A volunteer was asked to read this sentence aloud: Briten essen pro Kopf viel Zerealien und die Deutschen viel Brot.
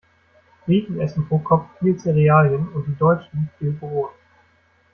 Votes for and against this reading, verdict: 2, 0, accepted